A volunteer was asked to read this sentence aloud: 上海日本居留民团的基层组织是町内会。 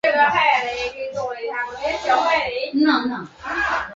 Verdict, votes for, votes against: rejected, 0, 2